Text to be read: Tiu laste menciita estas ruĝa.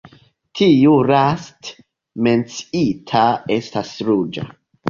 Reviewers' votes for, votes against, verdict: 0, 2, rejected